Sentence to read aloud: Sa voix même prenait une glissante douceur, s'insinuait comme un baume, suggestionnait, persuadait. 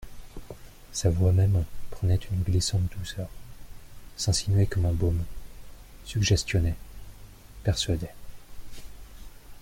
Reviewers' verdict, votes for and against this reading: rejected, 0, 2